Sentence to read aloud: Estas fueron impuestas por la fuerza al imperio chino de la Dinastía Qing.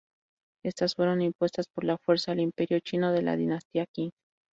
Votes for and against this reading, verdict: 2, 2, rejected